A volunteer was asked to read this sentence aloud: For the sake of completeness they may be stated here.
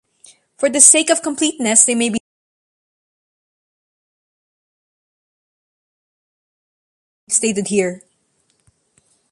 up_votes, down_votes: 0, 2